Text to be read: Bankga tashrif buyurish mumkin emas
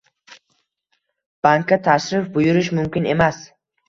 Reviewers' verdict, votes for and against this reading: accepted, 2, 0